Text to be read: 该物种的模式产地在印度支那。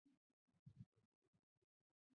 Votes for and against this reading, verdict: 1, 3, rejected